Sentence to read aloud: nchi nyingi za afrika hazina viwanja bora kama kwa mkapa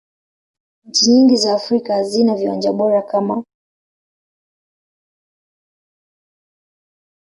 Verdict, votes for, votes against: accepted, 2, 0